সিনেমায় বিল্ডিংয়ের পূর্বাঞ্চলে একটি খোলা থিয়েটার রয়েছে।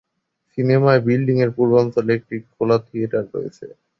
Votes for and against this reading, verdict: 2, 0, accepted